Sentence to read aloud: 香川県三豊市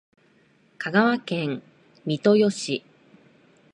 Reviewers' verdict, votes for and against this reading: accepted, 2, 0